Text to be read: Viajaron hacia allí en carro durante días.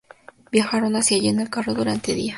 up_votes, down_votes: 0, 2